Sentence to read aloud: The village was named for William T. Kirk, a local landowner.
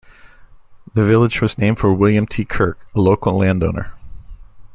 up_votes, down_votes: 2, 0